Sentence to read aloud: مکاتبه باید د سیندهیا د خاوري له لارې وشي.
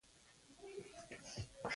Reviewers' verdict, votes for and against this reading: rejected, 0, 2